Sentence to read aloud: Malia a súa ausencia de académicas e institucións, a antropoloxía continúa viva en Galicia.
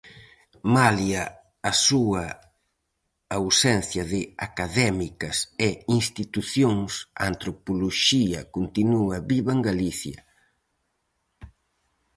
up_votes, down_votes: 4, 0